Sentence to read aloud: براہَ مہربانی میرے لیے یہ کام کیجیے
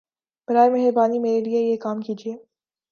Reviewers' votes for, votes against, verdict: 2, 0, accepted